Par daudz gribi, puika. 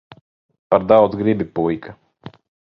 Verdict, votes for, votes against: accepted, 2, 0